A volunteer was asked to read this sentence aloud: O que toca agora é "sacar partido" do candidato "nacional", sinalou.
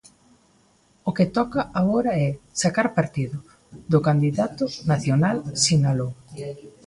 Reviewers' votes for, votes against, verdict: 2, 0, accepted